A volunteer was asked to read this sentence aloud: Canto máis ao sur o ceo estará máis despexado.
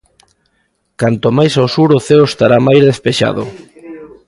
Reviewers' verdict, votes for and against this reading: rejected, 0, 2